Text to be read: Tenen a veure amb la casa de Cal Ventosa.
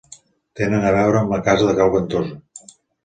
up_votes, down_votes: 2, 0